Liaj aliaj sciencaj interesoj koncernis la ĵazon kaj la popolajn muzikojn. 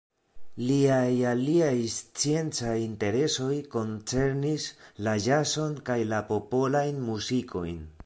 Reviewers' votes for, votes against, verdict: 0, 2, rejected